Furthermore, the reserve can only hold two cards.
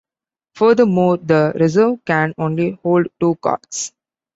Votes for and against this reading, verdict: 2, 0, accepted